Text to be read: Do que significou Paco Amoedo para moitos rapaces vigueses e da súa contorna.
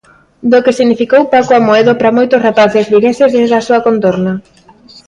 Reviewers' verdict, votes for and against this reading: rejected, 1, 2